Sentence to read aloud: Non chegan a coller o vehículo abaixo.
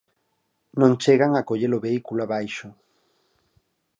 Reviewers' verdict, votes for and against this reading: accepted, 4, 0